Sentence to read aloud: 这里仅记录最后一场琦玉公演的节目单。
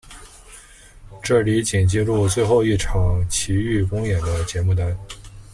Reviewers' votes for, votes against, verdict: 2, 0, accepted